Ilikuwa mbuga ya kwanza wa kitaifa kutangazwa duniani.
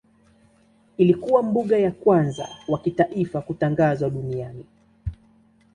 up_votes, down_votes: 2, 0